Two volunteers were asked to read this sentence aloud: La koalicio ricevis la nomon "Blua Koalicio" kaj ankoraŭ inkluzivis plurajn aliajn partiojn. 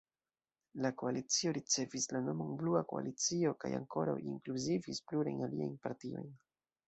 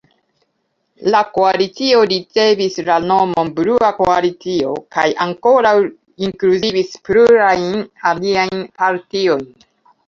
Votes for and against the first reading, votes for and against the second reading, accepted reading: 0, 2, 2, 0, second